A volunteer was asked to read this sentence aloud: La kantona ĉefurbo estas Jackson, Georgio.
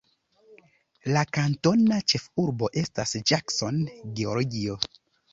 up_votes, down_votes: 1, 2